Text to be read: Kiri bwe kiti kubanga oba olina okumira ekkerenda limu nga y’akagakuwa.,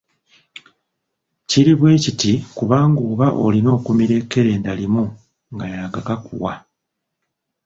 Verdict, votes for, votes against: rejected, 0, 2